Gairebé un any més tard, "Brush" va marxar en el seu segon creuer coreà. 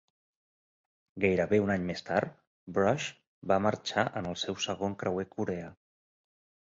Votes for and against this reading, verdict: 2, 0, accepted